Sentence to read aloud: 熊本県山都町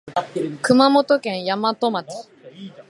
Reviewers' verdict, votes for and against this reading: rejected, 0, 3